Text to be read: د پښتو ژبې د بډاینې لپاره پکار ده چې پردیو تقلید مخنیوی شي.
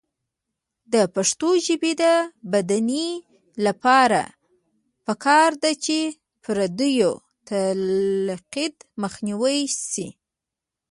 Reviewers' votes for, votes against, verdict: 0, 2, rejected